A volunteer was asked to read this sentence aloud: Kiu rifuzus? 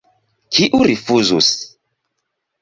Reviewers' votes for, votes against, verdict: 1, 2, rejected